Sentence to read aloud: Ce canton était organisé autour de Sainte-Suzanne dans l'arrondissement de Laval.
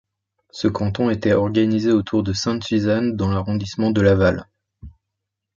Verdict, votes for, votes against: accepted, 2, 0